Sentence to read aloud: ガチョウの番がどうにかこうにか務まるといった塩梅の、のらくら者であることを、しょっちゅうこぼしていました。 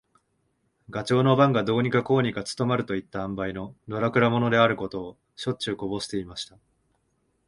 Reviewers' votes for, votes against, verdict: 5, 3, accepted